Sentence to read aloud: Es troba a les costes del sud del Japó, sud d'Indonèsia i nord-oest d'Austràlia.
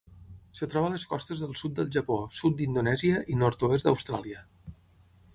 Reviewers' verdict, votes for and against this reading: rejected, 0, 6